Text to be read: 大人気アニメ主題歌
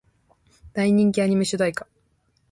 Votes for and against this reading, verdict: 1, 2, rejected